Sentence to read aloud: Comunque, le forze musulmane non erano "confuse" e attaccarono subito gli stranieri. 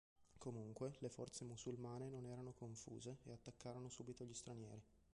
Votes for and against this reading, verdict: 1, 3, rejected